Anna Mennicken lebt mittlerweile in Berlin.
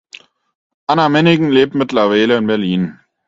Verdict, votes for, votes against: rejected, 2, 4